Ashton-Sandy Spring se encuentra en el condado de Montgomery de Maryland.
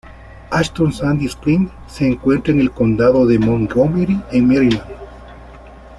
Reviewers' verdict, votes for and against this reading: rejected, 1, 2